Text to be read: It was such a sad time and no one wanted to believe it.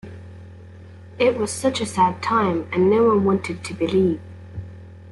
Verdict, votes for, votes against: rejected, 0, 2